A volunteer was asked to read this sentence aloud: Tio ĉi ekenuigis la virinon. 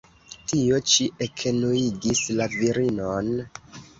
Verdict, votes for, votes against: rejected, 1, 2